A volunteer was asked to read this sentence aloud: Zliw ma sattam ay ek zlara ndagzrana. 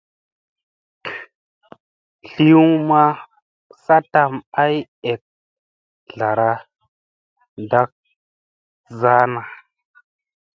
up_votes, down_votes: 2, 0